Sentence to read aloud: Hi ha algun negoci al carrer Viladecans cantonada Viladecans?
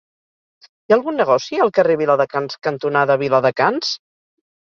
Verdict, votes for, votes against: accepted, 4, 0